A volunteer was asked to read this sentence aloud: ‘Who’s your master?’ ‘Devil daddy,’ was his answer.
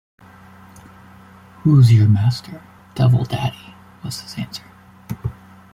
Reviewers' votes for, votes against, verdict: 2, 0, accepted